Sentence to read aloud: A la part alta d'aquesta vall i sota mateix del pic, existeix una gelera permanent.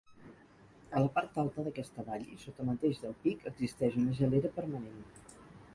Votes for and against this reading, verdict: 2, 4, rejected